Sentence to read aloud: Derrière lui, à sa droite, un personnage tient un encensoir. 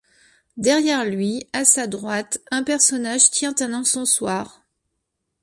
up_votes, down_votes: 2, 0